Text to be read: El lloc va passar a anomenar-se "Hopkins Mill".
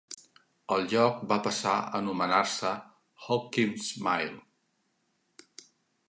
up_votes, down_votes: 2, 0